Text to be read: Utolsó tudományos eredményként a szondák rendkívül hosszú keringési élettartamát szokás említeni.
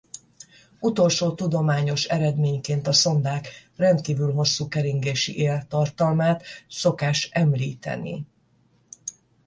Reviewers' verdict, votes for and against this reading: rejected, 0, 10